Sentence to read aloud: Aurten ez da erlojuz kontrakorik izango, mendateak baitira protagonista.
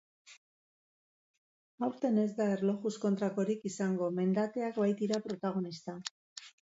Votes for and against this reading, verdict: 4, 0, accepted